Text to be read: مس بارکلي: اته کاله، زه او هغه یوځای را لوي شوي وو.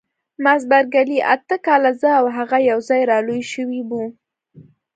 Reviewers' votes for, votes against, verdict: 2, 0, accepted